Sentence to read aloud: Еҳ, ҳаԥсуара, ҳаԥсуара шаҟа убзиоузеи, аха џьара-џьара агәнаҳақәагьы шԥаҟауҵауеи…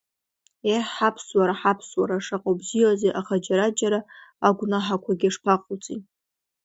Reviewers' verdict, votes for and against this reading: rejected, 0, 2